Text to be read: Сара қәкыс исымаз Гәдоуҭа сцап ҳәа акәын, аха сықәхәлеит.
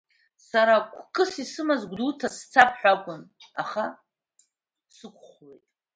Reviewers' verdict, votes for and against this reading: rejected, 0, 2